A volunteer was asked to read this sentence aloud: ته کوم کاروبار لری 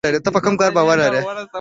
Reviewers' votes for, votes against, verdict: 2, 1, accepted